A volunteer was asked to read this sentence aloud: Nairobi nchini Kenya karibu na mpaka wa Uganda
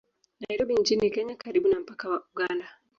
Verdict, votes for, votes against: rejected, 1, 2